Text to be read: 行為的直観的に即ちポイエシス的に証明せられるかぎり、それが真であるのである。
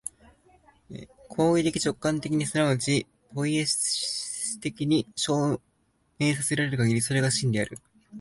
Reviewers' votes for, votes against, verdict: 2, 3, rejected